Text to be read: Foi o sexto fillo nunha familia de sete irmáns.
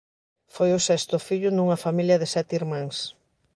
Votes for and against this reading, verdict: 2, 0, accepted